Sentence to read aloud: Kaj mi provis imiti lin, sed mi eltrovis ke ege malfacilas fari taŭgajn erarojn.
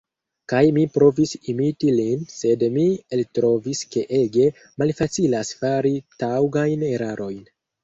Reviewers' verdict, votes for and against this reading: rejected, 1, 2